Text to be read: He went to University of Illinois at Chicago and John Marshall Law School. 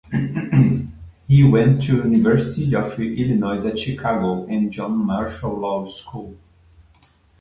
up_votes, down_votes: 1, 2